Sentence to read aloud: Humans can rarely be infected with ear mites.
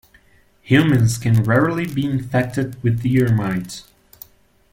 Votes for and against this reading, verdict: 2, 0, accepted